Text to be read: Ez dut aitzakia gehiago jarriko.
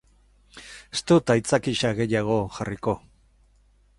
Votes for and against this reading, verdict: 0, 4, rejected